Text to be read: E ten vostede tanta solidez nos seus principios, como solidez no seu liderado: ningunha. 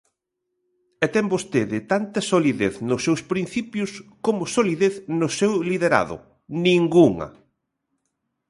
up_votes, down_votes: 2, 0